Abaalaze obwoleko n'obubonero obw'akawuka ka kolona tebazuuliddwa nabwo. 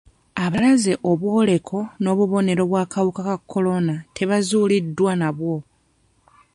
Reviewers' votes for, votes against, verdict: 1, 2, rejected